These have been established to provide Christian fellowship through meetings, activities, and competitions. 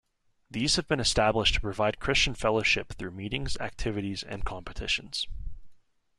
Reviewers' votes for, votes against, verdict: 2, 0, accepted